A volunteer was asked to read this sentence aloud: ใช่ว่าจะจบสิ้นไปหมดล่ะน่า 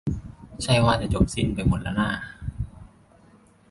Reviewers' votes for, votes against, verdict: 2, 0, accepted